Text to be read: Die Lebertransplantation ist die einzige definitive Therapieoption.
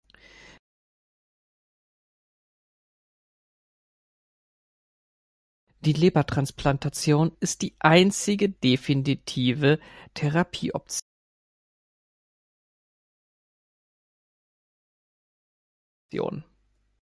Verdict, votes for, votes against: rejected, 0, 3